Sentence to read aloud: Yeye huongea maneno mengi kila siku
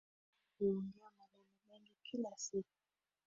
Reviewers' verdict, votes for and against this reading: rejected, 1, 2